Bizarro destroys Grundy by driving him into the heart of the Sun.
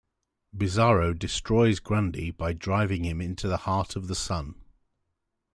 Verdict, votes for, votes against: accepted, 2, 0